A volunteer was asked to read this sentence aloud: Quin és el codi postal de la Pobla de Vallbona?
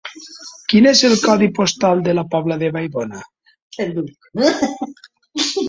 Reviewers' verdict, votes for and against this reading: rejected, 1, 2